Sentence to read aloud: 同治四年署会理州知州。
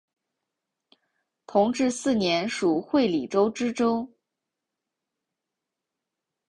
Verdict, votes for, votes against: accepted, 2, 0